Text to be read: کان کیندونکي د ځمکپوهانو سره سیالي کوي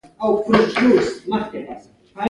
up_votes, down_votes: 0, 2